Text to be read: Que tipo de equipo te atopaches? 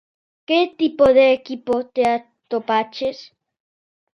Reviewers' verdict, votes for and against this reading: rejected, 0, 2